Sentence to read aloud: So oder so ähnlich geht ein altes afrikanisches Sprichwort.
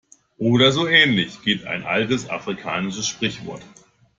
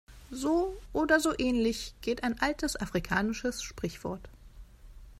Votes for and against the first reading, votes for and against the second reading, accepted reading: 0, 2, 2, 0, second